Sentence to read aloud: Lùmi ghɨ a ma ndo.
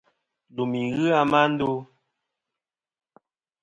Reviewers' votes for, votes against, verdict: 2, 1, accepted